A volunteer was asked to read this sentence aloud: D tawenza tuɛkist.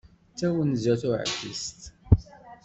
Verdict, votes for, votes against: accepted, 2, 0